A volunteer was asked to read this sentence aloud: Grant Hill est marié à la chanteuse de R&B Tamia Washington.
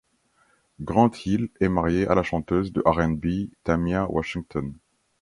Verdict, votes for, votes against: accepted, 2, 0